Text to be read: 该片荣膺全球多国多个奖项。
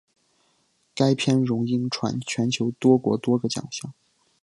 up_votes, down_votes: 2, 0